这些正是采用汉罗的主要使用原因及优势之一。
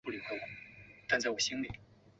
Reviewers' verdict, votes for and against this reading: rejected, 0, 5